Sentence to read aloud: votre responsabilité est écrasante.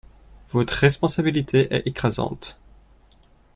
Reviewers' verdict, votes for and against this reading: rejected, 1, 2